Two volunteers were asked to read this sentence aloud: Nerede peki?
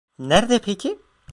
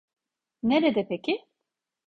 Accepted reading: second